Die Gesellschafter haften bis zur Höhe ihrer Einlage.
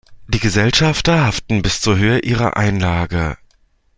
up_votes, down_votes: 2, 0